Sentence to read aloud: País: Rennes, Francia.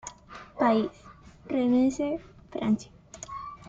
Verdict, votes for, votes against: rejected, 0, 2